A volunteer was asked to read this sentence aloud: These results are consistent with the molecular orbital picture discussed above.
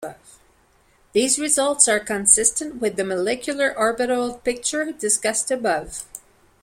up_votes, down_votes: 3, 0